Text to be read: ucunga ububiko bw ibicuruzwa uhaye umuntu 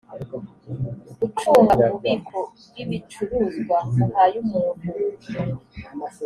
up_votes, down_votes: 3, 0